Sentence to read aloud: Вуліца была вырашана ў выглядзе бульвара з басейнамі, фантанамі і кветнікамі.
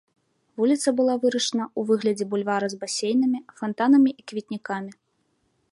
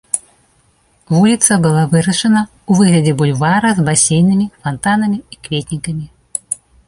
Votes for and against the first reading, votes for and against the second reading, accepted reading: 0, 2, 2, 0, second